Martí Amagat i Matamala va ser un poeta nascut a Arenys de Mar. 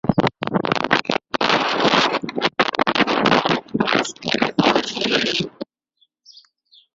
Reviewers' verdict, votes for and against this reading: rejected, 0, 4